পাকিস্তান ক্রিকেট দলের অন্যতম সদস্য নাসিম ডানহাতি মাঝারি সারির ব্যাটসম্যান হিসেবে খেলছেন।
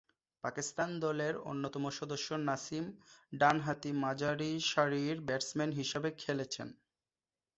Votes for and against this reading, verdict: 0, 2, rejected